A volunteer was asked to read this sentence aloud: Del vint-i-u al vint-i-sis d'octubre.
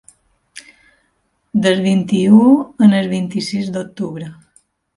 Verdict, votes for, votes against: rejected, 1, 2